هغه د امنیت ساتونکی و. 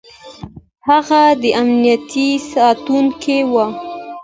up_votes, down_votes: 1, 2